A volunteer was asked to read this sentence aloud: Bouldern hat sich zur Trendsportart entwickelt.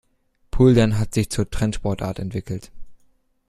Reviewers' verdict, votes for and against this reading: rejected, 1, 2